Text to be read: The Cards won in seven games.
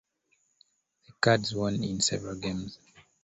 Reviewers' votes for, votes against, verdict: 2, 0, accepted